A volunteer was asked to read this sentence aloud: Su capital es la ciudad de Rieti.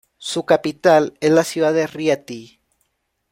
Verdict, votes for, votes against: accepted, 2, 1